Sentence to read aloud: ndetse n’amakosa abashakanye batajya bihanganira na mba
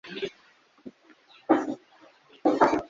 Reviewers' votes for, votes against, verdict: 1, 2, rejected